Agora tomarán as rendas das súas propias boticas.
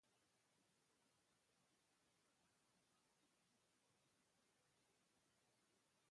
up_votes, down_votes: 0, 2